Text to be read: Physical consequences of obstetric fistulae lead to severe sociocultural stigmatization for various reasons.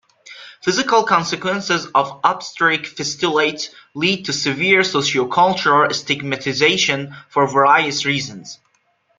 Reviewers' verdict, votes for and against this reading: rejected, 0, 2